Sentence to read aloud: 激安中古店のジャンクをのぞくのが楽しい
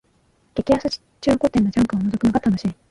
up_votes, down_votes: 1, 3